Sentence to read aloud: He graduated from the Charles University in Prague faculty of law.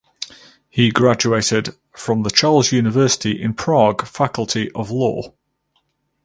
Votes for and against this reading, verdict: 4, 0, accepted